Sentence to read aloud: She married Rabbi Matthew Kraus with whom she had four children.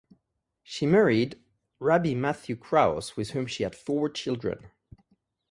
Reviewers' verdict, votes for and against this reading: accepted, 4, 0